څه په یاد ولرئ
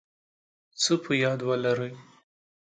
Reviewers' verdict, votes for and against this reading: accepted, 2, 0